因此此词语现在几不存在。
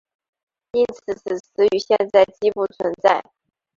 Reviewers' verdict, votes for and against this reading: rejected, 1, 3